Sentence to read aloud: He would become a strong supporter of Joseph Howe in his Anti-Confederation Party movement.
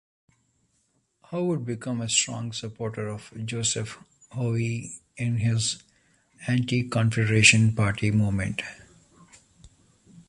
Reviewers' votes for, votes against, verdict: 1, 2, rejected